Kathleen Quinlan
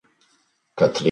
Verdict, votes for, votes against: rejected, 0, 2